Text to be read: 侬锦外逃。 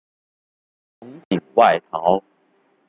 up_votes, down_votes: 1, 2